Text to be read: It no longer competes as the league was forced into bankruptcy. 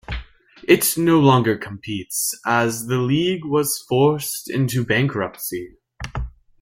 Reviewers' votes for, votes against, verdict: 1, 2, rejected